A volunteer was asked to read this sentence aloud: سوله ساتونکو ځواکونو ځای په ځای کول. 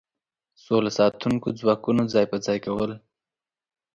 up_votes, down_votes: 2, 0